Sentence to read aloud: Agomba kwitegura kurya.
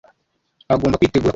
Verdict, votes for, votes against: rejected, 1, 3